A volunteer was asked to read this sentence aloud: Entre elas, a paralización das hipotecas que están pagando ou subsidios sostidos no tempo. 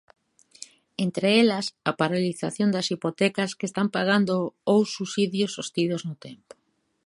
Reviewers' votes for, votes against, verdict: 1, 2, rejected